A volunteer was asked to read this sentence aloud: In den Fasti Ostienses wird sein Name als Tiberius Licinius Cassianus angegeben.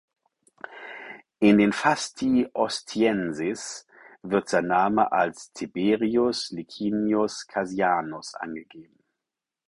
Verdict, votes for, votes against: accepted, 4, 0